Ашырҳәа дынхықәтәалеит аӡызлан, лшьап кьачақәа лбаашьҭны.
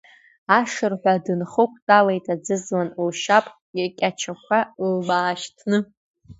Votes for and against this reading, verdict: 0, 2, rejected